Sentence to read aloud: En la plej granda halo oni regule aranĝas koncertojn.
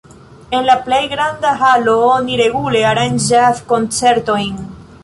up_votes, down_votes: 2, 0